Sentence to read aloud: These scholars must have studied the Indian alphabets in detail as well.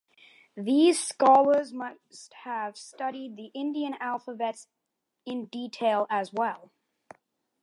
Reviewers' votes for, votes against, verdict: 2, 0, accepted